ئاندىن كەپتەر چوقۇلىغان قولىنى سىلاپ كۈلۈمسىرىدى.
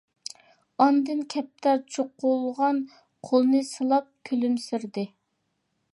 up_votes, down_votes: 2, 1